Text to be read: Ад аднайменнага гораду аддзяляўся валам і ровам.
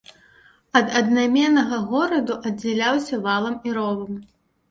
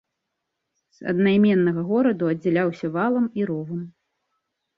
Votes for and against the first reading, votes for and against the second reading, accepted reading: 2, 0, 0, 3, first